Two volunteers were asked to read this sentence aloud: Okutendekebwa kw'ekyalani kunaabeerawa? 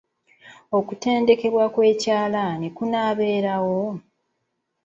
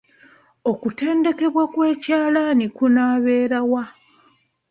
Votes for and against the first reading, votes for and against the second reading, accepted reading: 0, 2, 2, 0, second